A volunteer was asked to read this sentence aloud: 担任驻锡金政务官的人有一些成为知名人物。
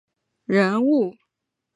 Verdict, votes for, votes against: rejected, 0, 4